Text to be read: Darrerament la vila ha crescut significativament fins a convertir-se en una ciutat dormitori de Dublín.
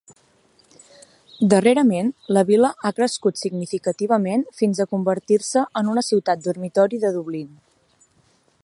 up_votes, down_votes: 5, 0